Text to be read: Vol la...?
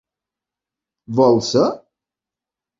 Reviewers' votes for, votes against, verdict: 0, 2, rejected